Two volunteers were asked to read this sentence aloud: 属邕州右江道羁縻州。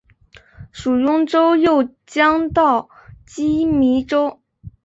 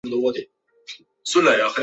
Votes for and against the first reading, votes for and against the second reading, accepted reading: 3, 2, 0, 2, first